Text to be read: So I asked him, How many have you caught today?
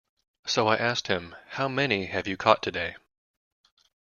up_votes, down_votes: 4, 0